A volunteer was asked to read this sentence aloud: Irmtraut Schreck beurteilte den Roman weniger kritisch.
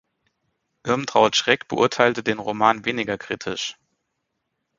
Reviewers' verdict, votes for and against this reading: accepted, 4, 0